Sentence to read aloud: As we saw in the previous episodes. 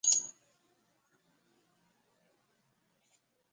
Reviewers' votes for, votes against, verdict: 0, 3, rejected